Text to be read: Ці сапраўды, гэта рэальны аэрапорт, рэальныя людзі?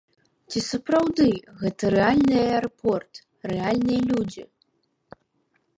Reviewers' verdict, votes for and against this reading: accepted, 2, 1